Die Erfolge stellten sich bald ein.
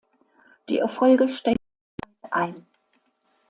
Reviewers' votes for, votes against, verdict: 0, 2, rejected